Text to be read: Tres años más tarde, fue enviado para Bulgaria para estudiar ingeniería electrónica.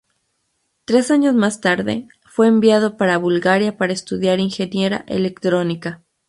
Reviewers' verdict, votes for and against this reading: rejected, 0, 2